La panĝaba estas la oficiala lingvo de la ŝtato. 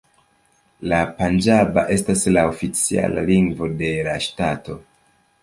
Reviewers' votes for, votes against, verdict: 2, 0, accepted